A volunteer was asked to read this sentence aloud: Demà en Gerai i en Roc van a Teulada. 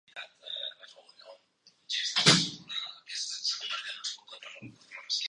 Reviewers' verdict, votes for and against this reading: rejected, 0, 3